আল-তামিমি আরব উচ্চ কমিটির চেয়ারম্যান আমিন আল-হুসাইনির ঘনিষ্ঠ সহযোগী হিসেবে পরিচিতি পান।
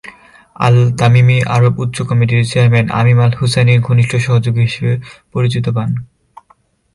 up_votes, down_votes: 6, 13